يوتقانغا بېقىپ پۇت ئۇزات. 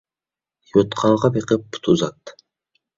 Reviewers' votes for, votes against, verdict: 2, 0, accepted